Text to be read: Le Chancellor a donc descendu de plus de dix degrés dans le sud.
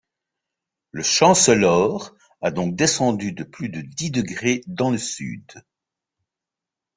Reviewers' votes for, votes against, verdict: 2, 0, accepted